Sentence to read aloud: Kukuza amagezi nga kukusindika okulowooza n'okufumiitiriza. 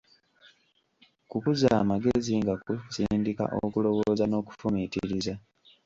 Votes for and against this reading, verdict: 1, 2, rejected